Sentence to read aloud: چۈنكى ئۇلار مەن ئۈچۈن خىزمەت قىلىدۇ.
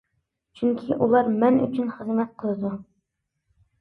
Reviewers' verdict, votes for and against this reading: accepted, 2, 0